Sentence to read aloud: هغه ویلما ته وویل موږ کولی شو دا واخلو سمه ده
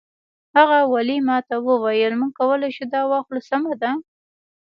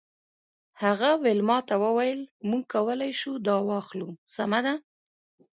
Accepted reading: second